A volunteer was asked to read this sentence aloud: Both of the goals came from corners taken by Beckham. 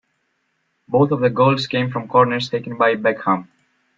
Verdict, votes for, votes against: accepted, 2, 0